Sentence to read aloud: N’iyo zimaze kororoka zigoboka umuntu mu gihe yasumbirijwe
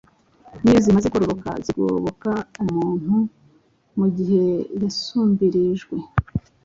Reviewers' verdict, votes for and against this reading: accepted, 2, 1